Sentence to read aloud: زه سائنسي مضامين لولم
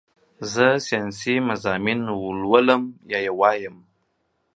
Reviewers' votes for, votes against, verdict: 1, 2, rejected